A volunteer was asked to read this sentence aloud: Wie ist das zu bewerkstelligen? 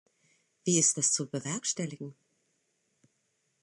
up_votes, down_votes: 2, 0